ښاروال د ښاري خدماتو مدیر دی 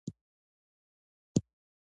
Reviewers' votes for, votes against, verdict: 1, 2, rejected